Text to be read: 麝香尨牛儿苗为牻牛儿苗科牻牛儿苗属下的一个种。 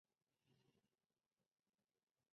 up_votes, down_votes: 0, 4